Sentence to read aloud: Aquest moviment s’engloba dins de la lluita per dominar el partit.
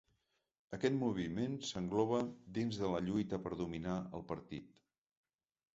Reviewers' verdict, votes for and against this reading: accepted, 3, 0